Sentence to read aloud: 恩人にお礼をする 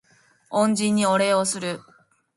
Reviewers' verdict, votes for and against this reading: accepted, 2, 0